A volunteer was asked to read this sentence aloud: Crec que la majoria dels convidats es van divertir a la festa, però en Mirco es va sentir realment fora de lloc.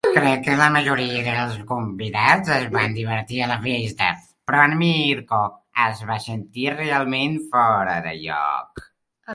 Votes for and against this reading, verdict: 1, 2, rejected